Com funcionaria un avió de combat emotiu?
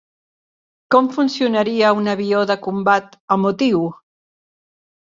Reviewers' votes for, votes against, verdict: 2, 0, accepted